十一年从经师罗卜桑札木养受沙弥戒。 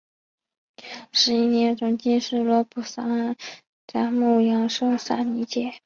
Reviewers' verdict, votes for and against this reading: accepted, 2, 0